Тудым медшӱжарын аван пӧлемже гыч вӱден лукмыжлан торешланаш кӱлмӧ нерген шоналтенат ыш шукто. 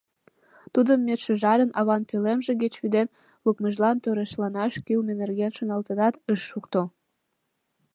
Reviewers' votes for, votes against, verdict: 2, 0, accepted